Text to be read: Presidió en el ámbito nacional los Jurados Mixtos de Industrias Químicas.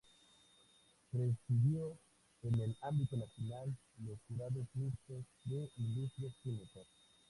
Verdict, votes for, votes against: rejected, 0, 2